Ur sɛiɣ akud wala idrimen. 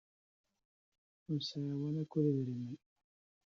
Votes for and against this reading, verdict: 0, 2, rejected